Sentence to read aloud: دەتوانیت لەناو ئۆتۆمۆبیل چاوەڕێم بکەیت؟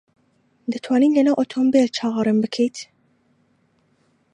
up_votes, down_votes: 2, 0